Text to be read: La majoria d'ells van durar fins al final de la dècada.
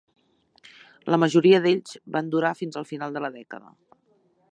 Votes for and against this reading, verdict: 2, 0, accepted